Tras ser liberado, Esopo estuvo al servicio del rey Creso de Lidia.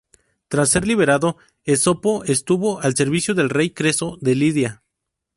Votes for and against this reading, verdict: 4, 0, accepted